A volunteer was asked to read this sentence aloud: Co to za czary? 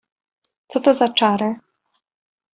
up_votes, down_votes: 2, 0